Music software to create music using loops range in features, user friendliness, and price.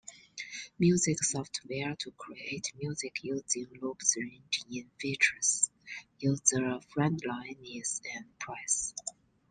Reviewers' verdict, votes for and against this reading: rejected, 0, 2